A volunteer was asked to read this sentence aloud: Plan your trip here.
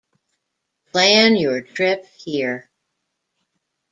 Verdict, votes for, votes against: accepted, 2, 0